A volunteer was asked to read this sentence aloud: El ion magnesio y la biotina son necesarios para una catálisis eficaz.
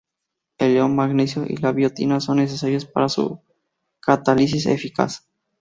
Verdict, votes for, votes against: rejected, 0, 2